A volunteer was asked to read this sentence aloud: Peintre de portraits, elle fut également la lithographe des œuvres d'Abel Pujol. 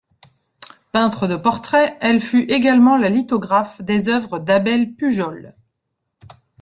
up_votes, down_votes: 2, 0